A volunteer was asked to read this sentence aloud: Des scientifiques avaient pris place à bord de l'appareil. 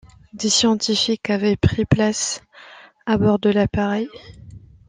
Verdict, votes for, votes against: accepted, 2, 0